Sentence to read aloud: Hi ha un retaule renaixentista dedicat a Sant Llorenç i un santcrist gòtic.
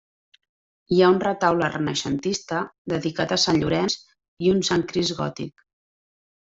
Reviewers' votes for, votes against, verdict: 2, 0, accepted